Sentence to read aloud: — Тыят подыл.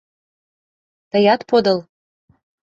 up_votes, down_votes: 2, 0